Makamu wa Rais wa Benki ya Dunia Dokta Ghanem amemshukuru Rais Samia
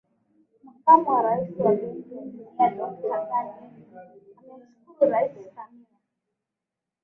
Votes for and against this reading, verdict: 1, 3, rejected